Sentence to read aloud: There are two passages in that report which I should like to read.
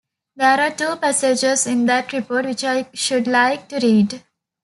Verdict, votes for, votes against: accepted, 2, 0